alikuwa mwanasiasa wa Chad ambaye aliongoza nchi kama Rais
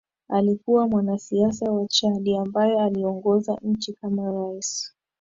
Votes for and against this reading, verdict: 2, 0, accepted